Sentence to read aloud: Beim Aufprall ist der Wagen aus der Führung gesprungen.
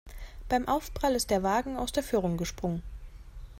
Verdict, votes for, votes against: accepted, 2, 0